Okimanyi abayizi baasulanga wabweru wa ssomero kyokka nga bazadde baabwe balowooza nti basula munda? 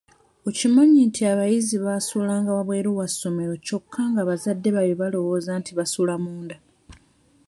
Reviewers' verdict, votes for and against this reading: rejected, 0, 2